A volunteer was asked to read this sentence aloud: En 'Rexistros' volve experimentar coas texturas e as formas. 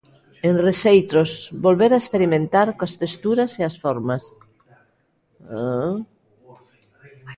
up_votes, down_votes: 0, 2